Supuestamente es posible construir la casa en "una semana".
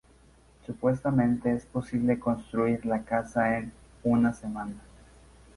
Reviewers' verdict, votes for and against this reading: accepted, 2, 0